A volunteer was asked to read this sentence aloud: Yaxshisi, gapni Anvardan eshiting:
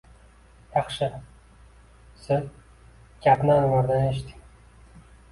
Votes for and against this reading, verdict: 0, 2, rejected